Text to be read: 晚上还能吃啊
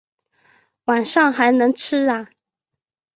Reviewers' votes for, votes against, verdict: 3, 3, rejected